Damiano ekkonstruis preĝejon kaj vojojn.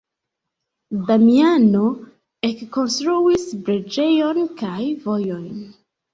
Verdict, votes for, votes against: accepted, 2, 0